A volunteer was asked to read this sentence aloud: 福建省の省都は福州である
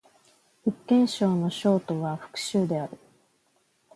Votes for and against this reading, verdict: 2, 0, accepted